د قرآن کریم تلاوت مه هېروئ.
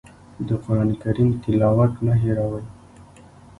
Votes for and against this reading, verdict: 1, 2, rejected